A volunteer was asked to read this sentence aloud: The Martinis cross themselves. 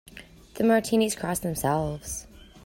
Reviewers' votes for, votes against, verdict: 2, 0, accepted